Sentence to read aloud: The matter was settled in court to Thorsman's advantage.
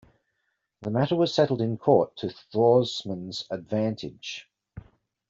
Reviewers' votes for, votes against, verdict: 2, 0, accepted